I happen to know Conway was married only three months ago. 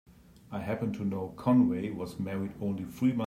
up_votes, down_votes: 0, 2